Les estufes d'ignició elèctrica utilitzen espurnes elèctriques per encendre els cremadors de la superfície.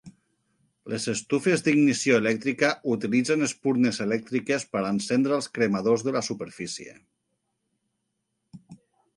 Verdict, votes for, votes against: accepted, 2, 0